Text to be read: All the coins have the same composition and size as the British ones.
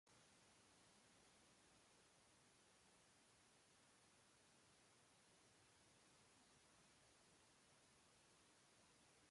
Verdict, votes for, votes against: rejected, 0, 2